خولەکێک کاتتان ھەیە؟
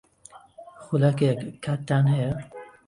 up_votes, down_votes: 8, 1